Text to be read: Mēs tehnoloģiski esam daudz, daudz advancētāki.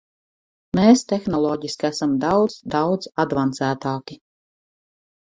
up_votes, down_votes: 4, 0